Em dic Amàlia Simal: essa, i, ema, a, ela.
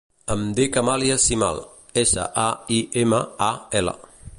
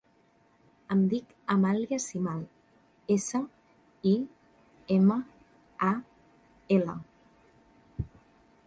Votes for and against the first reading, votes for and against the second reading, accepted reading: 1, 2, 2, 0, second